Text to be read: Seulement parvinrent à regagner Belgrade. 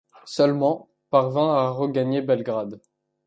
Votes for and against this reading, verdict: 2, 0, accepted